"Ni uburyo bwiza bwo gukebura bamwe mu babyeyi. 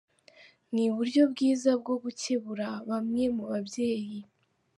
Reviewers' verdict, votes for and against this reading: accepted, 3, 0